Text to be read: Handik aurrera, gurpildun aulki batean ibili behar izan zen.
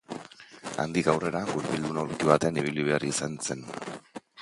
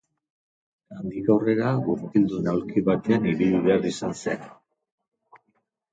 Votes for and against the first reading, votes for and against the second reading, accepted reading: 0, 2, 2, 0, second